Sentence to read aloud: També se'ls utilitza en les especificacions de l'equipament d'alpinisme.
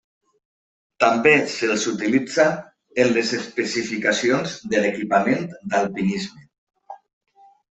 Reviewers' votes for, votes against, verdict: 2, 0, accepted